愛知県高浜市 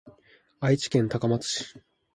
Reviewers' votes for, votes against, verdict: 0, 2, rejected